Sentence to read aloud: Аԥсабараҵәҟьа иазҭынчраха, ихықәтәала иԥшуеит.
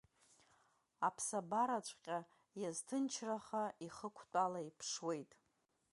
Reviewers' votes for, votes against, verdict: 2, 0, accepted